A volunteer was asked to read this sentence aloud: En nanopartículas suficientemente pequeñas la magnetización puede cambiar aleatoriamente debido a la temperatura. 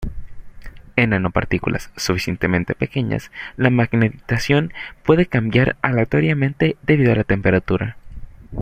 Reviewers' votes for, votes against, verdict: 0, 2, rejected